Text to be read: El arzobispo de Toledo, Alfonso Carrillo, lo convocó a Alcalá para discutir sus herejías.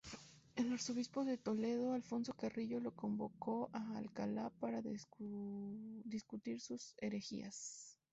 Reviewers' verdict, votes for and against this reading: rejected, 0, 2